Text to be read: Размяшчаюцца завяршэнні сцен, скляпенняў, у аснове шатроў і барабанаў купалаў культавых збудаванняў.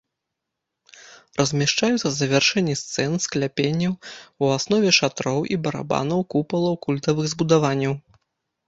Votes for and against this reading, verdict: 0, 2, rejected